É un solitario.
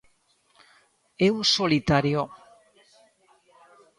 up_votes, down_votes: 2, 0